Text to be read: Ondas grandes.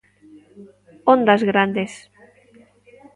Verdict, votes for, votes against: accepted, 2, 0